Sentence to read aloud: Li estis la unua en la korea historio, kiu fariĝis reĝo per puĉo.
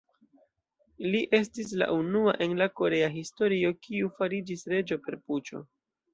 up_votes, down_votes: 2, 0